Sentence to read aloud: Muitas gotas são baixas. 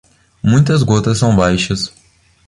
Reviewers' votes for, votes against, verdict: 2, 0, accepted